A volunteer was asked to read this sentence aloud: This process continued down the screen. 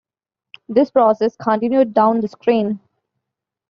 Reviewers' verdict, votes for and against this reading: accepted, 2, 0